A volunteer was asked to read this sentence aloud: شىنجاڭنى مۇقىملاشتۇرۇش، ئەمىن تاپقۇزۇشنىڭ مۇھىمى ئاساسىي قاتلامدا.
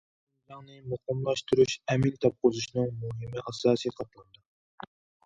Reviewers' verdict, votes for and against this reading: rejected, 0, 2